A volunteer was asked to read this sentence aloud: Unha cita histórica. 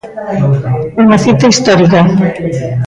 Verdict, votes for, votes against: rejected, 1, 2